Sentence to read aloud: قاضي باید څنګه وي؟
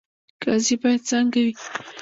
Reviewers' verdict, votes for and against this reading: rejected, 1, 2